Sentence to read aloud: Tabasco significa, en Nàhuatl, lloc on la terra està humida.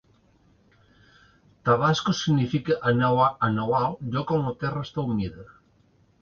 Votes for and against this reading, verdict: 1, 2, rejected